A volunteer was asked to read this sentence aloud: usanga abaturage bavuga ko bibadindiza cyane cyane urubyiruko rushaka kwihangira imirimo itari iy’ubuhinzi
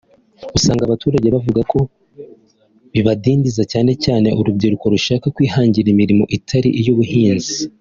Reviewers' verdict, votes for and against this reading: accepted, 3, 1